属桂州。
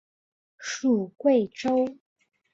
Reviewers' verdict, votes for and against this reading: accepted, 3, 0